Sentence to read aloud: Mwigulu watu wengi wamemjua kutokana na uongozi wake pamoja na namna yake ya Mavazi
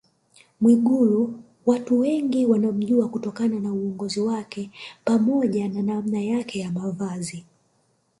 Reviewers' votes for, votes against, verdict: 1, 2, rejected